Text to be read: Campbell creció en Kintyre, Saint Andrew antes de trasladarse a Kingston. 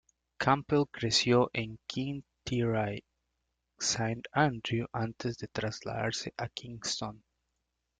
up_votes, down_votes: 2, 0